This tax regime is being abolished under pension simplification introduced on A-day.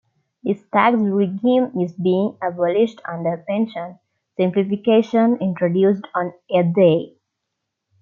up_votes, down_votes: 2, 0